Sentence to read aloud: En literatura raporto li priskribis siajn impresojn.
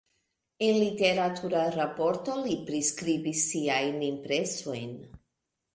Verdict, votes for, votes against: rejected, 1, 2